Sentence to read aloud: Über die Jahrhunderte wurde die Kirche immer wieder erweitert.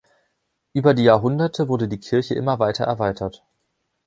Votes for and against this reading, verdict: 1, 2, rejected